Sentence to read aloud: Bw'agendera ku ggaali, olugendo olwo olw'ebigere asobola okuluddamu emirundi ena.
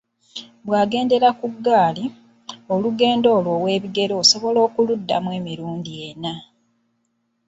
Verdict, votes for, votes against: rejected, 0, 2